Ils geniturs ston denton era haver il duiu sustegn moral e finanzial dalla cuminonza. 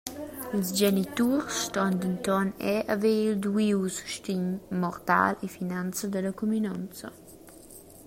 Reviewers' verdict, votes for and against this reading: rejected, 0, 2